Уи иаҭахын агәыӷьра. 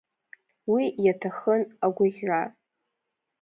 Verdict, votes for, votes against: accepted, 2, 1